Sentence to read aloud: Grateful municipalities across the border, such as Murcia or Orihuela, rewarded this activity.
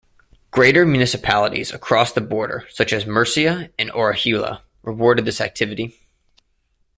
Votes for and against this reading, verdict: 1, 2, rejected